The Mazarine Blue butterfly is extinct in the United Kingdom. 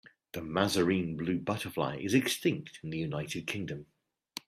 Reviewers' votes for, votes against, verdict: 2, 0, accepted